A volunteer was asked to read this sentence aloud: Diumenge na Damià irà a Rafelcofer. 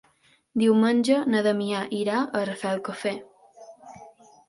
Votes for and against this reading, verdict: 2, 0, accepted